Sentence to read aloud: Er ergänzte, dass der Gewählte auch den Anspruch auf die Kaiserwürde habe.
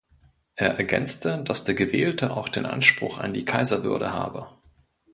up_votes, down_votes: 0, 2